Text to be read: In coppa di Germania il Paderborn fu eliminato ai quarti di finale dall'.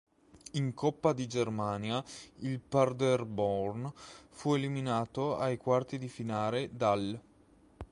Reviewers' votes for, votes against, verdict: 3, 4, rejected